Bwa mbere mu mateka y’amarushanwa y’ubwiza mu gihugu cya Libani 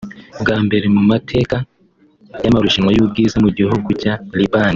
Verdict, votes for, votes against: accepted, 2, 0